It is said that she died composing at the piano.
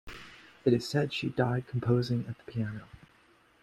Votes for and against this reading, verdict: 2, 0, accepted